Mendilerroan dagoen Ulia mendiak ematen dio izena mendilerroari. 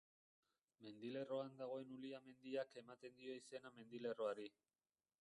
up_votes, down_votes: 1, 2